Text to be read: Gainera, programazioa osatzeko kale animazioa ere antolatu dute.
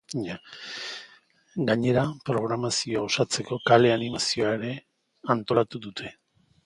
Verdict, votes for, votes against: rejected, 2, 2